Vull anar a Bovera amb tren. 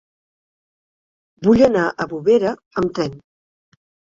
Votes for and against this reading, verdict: 0, 2, rejected